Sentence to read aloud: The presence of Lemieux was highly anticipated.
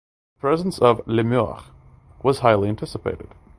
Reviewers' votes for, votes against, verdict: 0, 2, rejected